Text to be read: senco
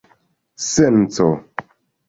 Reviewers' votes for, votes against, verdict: 1, 2, rejected